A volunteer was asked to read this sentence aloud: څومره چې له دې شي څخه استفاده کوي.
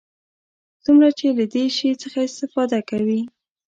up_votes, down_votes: 2, 0